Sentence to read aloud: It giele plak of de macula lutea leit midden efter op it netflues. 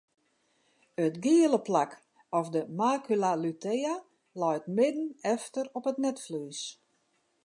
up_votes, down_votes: 2, 0